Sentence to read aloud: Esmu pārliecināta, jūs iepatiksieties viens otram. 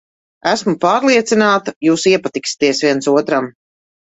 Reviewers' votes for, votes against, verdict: 2, 0, accepted